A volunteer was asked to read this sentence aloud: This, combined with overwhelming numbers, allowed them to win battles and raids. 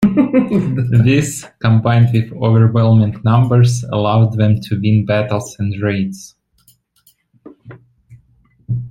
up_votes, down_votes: 1, 2